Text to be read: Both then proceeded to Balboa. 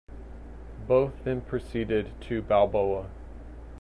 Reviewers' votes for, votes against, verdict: 2, 0, accepted